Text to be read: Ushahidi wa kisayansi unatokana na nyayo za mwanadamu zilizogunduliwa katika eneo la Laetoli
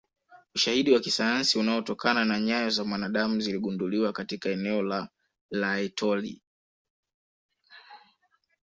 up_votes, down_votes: 4, 0